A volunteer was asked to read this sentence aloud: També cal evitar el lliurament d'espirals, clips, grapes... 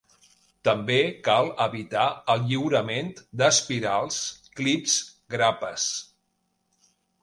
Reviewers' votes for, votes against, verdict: 2, 0, accepted